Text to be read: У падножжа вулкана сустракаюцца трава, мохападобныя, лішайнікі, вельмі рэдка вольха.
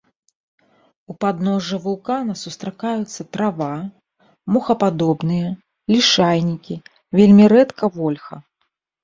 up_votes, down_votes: 2, 0